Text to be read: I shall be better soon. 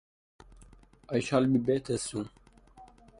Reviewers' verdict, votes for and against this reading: accepted, 2, 0